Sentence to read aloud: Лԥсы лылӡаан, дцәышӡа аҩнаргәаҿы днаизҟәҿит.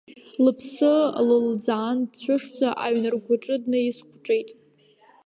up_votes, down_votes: 1, 2